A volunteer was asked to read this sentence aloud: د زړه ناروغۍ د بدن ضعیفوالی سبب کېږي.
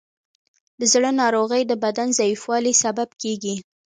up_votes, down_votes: 0, 2